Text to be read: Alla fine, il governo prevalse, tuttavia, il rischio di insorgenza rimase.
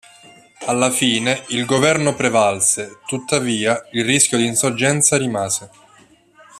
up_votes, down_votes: 1, 2